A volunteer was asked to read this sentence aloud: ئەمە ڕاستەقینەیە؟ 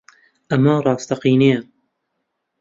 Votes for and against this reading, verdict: 2, 0, accepted